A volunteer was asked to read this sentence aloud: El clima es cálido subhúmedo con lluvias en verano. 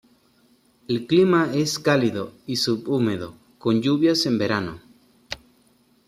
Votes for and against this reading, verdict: 0, 2, rejected